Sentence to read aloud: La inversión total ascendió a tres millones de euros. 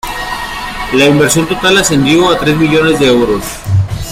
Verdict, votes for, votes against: accepted, 2, 0